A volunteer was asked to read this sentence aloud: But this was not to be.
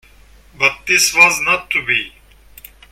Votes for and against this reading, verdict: 2, 0, accepted